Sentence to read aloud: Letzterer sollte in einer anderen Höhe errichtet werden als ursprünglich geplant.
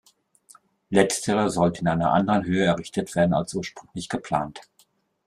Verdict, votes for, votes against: rejected, 0, 2